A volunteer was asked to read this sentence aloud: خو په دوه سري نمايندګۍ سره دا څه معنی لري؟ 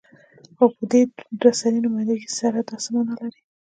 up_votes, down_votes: 3, 0